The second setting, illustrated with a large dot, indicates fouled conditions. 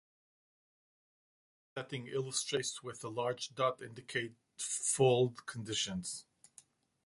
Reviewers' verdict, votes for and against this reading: rejected, 0, 2